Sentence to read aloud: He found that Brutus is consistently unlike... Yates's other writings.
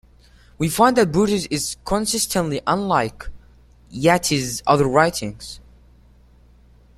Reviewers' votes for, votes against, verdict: 0, 2, rejected